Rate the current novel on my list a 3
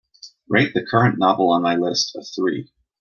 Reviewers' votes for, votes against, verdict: 0, 2, rejected